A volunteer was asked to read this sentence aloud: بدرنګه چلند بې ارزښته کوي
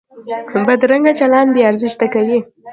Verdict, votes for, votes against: rejected, 0, 2